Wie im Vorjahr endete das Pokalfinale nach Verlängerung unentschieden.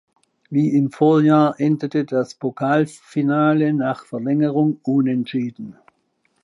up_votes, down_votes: 2, 0